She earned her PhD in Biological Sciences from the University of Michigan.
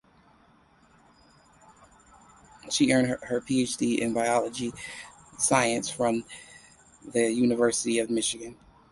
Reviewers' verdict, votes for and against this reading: accepted, 2, 0